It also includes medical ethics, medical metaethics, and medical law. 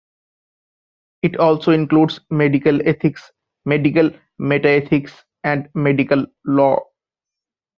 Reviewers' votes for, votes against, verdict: 0, 2, rejected